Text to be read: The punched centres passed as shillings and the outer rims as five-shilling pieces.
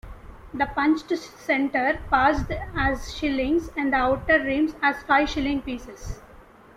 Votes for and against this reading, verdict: 1, 2, rejected